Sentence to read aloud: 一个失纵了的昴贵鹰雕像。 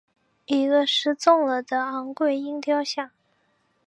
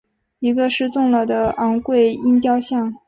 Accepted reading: second